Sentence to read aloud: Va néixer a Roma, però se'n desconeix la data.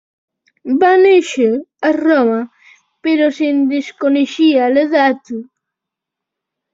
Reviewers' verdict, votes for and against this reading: rejected, 0, 2